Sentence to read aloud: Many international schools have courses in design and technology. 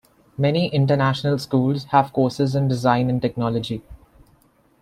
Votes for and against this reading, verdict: 2, 0, accepted